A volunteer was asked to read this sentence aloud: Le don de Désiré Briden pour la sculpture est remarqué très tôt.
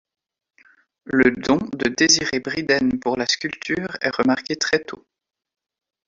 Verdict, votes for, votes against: accepted, 2, 0